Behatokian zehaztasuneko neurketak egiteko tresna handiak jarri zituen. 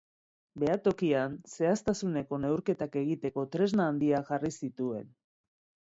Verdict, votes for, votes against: rejected, 1, 2